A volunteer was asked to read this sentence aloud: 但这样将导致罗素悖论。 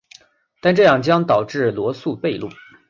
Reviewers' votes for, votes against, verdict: 3, 0, accepted